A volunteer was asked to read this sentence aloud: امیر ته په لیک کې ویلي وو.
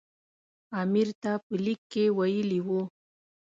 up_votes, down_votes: 2, 0